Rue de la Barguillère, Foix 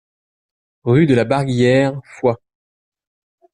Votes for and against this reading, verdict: 2, 0, accepted